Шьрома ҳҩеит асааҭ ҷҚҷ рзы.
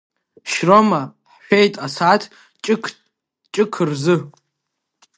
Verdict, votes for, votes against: rejected, 0, 2